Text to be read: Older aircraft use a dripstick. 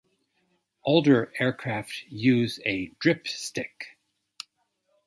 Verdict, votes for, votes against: accepted, 2, 0